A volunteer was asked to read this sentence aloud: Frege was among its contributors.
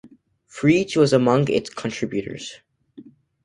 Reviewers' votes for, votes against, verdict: 2, 0, accepted